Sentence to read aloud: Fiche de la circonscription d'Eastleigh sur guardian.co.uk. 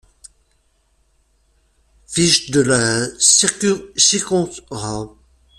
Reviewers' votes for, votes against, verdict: 0, 2, rejected